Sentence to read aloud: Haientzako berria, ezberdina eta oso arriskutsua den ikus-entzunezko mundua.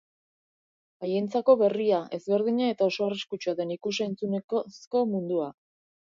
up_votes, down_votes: 2, 0